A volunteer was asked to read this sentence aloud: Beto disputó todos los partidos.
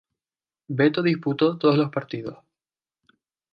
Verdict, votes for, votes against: accepted, 2, 0